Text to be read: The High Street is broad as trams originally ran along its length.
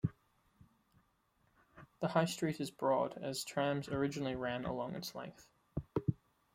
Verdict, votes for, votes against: accepted, 2, 1